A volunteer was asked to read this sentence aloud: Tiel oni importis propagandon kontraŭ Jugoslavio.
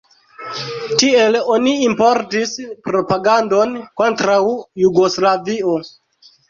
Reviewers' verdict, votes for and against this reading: accepted, 2, 0